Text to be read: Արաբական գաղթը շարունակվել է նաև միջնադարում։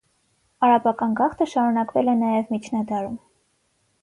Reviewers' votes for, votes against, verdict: 6, 0, accepted